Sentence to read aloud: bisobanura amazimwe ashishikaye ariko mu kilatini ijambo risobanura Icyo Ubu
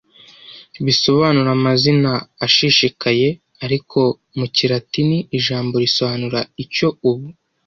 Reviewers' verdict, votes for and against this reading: rejected, 1, 2